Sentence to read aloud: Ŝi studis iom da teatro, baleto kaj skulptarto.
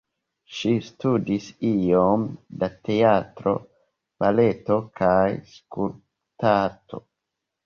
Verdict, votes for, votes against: rejected, 1, 2